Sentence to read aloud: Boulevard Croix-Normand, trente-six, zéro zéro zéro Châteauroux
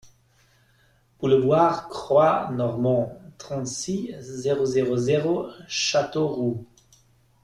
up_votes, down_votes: 0, 2